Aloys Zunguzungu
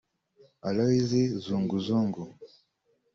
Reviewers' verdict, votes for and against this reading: rejected, 1, 2